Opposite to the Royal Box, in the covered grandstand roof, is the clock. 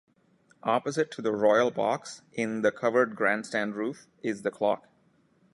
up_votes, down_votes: 2, 0